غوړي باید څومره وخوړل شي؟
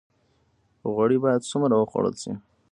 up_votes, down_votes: 0, 2